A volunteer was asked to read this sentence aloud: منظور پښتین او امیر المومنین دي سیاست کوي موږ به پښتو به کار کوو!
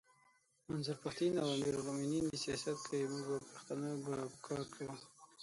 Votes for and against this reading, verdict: 6, 9, rejected